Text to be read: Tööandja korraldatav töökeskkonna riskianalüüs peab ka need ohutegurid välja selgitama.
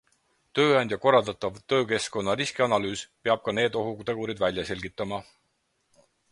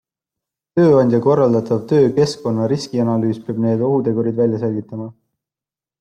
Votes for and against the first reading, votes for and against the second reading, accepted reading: 4, 0, 0, 2, first